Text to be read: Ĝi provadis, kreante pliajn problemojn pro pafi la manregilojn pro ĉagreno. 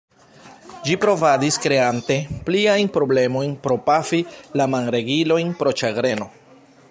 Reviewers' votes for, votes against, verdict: 1, 2, rejected